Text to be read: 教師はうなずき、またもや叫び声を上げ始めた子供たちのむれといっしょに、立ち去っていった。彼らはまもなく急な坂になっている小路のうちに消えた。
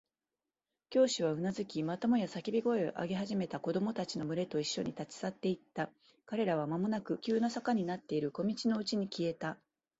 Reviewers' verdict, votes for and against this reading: accepted, 2, 0